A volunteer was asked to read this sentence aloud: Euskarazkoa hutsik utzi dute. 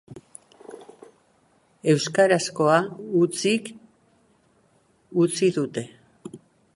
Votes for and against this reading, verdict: 2, 0, accepted